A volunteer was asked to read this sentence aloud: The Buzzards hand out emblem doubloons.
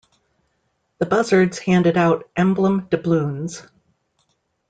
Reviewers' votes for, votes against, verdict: 0, 2, rejected